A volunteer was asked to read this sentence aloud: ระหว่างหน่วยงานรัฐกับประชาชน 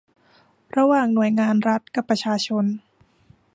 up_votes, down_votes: 2, 0